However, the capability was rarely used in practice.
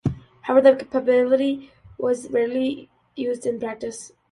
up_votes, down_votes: 2, 0